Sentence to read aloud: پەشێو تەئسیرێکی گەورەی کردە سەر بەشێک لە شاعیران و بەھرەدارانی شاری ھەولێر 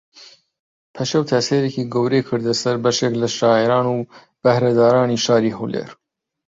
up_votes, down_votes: 2, 0